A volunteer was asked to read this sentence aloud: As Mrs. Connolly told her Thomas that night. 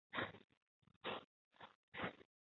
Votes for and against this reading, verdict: 0, 2, rejected